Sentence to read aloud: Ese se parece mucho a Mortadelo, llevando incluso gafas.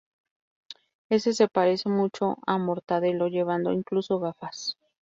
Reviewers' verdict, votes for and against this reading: accepted, 4, 0